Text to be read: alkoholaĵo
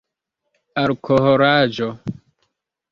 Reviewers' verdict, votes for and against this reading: rejected, 0, 2